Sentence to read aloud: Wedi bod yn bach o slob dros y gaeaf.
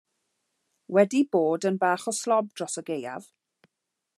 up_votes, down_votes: 2, 0